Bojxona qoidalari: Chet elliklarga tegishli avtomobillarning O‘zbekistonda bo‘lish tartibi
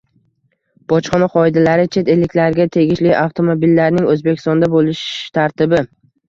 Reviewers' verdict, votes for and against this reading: accepted, 2, 0